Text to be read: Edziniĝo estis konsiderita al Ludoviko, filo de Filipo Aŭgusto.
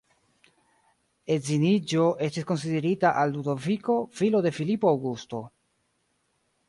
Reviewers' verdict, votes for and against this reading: rejected, 0, 2